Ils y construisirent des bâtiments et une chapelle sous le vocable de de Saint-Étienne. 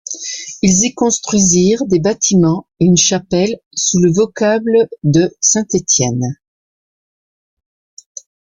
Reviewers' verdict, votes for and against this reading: rejected, 2, 3